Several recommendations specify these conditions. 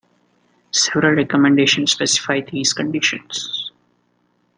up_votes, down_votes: 2, 0